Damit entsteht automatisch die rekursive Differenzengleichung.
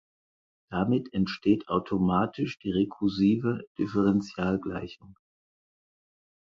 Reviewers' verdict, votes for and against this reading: rejected, 2, 4